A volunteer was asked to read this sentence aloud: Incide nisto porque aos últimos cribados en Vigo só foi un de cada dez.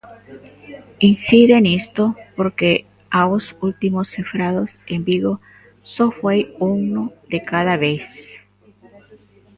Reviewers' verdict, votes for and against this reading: rejected, 0, 2